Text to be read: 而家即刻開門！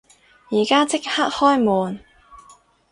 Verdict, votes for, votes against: accepted, 2, 0